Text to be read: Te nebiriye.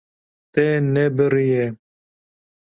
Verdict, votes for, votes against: accepted, 2, 0